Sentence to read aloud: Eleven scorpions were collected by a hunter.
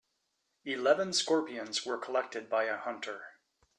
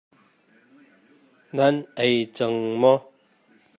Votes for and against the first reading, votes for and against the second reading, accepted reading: 2, 0, 0, 2, first